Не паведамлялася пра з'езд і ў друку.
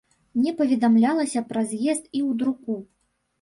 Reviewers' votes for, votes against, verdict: 1, 2, rejected